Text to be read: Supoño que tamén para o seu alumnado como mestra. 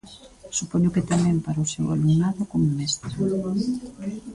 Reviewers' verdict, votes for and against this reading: rejected, 0, 2